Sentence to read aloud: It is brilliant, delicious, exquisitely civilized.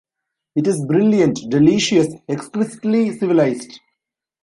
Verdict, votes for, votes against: rejected, 1, 2